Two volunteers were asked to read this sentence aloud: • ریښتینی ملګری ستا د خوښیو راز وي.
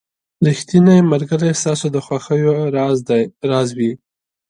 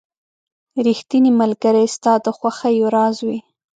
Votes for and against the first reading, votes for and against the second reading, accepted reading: 2, 1, 1, 2, first